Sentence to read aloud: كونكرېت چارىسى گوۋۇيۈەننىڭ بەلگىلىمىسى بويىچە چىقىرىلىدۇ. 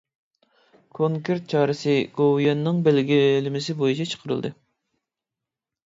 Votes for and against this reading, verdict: 0, 2, rejected